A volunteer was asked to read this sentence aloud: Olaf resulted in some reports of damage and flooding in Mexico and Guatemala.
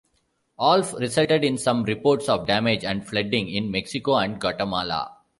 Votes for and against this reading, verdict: 1, 2, rejected